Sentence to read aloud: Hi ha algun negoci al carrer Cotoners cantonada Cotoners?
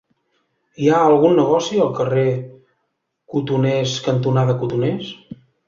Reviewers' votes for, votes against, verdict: 3, 0, accepted